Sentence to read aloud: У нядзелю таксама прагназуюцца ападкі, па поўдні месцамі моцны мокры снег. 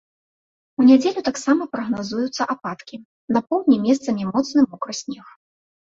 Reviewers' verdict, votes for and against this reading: rejected, 1, 2